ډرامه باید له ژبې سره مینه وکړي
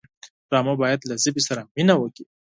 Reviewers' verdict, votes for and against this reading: accepted, 6, 0